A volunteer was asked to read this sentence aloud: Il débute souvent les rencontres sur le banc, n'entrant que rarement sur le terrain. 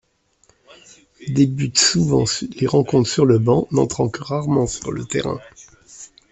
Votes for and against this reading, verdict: 0, 2, rejected